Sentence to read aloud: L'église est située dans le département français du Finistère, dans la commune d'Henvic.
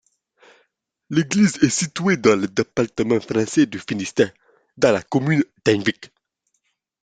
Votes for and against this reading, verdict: 2, 0, accepted